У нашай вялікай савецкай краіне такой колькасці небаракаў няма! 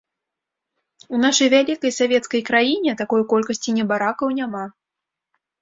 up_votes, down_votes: 2, 0